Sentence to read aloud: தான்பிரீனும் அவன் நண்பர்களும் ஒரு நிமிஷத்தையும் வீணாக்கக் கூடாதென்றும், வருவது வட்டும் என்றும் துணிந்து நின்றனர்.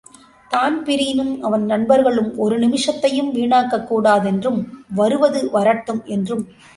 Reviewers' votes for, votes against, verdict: 0, 2, rejected